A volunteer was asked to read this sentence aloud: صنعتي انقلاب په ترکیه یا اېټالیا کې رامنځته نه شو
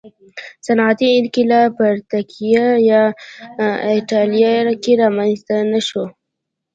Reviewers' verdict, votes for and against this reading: accepted, 2, 0